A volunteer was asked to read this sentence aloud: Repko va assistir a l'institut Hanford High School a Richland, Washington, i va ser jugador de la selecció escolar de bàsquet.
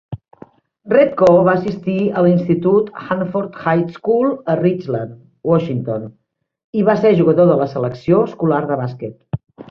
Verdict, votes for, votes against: accepted, 3, 1